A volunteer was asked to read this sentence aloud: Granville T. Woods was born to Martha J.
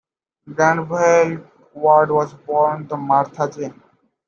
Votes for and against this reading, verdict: 1, 2, rejected